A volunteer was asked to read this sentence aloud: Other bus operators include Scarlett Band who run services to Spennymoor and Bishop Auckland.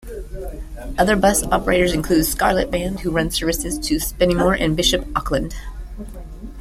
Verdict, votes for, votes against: accepted, 2, 1